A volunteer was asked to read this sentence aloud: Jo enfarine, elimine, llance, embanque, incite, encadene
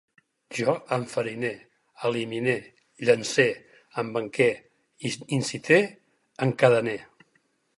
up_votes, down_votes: 0, 4